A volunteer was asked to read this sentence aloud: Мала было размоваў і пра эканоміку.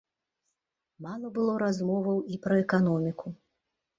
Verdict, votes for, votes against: accepted, 2, 0